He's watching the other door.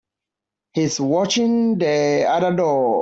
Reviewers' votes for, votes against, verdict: 1, 2, rejected